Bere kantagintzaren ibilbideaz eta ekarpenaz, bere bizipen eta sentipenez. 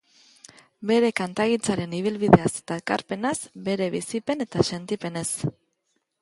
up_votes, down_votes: 2, 0